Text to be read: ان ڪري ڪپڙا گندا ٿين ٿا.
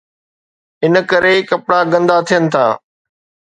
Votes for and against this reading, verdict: 2, 0, accepted